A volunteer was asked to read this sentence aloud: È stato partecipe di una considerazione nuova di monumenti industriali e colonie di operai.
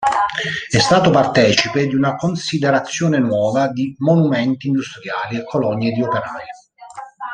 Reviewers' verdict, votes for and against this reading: rejected, 1, 2